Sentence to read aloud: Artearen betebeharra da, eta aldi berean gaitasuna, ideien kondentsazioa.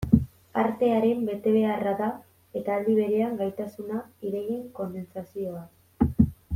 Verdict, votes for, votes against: accepted, 2, 0